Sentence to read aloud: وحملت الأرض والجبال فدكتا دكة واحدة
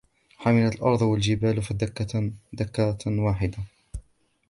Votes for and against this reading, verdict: 0, 2, rejected